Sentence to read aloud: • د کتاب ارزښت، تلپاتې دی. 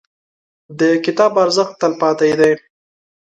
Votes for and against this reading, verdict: 2, 0, accepted